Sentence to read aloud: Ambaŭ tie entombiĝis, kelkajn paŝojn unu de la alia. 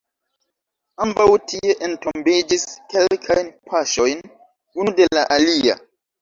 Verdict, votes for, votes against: accepted, 2, 0